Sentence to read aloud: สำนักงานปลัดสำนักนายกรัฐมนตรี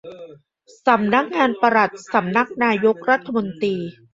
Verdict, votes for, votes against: rejected, 0, 2